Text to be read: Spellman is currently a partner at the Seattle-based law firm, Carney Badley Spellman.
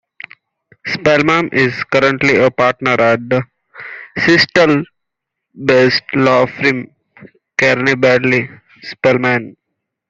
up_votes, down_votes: 2, 1